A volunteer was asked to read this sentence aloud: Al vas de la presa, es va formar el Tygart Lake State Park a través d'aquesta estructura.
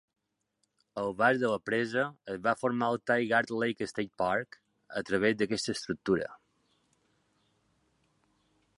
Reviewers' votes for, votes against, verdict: 1, 3, rejected